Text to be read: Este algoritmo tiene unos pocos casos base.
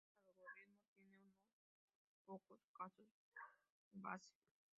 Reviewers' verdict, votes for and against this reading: accepted, 2, 1